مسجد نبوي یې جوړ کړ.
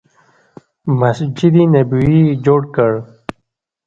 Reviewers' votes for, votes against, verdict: 2, 0, accepted